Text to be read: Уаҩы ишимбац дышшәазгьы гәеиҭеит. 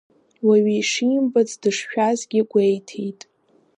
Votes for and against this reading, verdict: 1, 2, rejected